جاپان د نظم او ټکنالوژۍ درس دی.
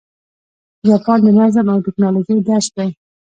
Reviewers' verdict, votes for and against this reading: rejected, 1, 2